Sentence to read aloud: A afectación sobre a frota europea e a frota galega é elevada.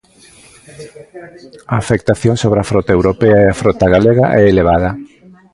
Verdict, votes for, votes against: accepted, 2, 1